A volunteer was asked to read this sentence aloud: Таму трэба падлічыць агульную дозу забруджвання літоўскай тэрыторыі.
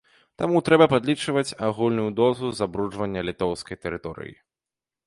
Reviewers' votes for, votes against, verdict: 0, 2, rejected